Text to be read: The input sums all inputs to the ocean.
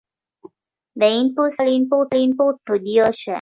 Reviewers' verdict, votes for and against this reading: rejected, 0, 2